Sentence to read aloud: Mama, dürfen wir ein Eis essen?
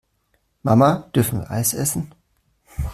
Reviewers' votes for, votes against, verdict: 1, 2, rejected